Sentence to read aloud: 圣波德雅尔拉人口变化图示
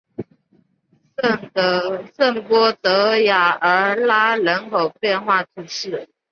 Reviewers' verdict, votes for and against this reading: accepted, 2, 0